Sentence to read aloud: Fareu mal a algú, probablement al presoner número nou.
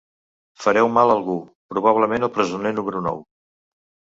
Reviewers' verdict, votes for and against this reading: accepted, 2, 0